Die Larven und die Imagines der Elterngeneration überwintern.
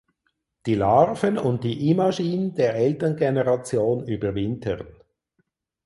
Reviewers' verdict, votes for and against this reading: rejected, 0, 4